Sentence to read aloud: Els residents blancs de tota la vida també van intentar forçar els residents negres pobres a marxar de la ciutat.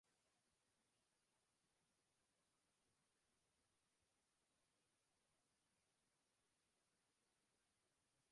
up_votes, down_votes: 1, 2